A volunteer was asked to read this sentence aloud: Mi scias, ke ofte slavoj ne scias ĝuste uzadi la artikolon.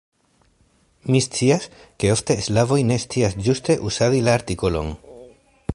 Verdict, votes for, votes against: accepted, 2, 0